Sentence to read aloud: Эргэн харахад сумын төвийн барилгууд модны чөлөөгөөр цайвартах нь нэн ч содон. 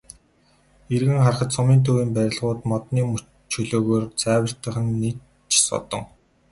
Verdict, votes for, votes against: accepted, 2, 0